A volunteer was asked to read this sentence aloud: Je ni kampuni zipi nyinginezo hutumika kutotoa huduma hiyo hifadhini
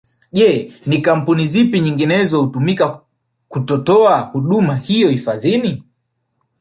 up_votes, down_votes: 1, 2